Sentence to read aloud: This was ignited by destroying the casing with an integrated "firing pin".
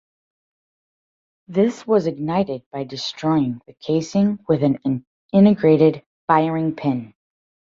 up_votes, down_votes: 0, 2